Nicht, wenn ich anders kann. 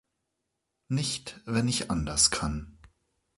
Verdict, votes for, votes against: accepted, 2, 0